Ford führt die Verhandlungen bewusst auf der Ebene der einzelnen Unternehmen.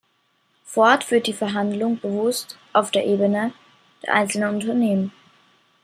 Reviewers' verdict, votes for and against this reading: accepted, 2, 0